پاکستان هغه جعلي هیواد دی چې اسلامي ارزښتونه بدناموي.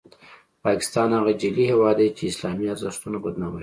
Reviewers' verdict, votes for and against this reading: accepted, 2, 0